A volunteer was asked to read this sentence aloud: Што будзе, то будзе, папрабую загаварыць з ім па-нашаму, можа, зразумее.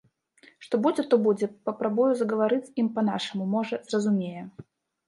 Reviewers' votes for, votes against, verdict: 0, 2, rejected